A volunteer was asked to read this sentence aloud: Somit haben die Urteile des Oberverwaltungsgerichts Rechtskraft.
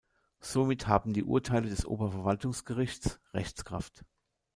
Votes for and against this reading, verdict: 3, 0, accepted